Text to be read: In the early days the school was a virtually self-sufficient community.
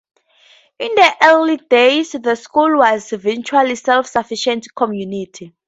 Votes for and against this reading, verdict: 2, 0, accepted